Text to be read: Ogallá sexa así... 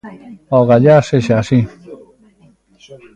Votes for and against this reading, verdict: 2, 0, accepted